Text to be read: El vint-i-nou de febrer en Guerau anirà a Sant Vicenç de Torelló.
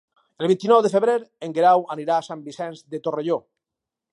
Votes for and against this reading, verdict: 2, 2, rejected